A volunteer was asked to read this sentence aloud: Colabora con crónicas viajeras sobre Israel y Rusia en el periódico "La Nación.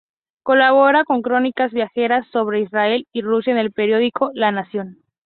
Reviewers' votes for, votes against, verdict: 6, 0, accepted